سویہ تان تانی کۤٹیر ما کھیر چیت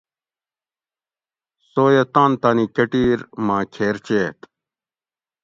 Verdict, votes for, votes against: accepted, 2, 0